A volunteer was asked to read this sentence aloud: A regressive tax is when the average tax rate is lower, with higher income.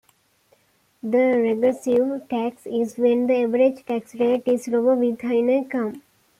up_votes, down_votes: 1, 2